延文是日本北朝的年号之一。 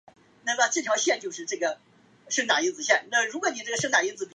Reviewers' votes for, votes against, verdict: 2, 4, rejected